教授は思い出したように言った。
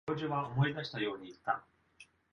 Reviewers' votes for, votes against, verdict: 2, 1, accepted